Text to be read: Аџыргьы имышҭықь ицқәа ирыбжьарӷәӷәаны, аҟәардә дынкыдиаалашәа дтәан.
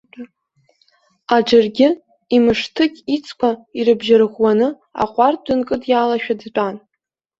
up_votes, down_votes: 0, 2